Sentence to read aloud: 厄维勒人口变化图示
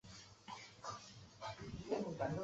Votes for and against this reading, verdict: 1, 2, rejected